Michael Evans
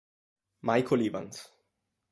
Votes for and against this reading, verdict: 2, 0, accepted